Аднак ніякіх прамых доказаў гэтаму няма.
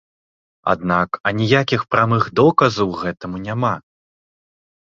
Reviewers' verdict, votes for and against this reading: rejected, 1, 2